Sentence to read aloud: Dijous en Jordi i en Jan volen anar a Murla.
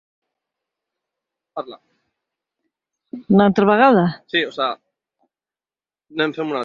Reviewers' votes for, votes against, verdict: 0, 2, rejected